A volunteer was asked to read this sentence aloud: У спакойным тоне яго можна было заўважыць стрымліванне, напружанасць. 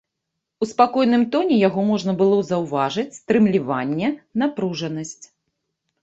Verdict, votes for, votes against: rejected, 0, 2